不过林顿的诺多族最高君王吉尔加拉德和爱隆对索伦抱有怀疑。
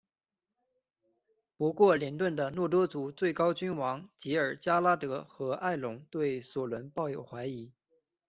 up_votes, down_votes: 2, 0